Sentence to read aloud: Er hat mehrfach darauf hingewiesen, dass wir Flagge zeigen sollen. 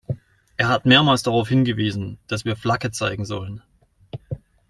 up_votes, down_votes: 1, 2